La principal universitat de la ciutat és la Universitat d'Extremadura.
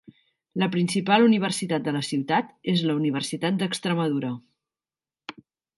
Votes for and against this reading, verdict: 4, 0, accepted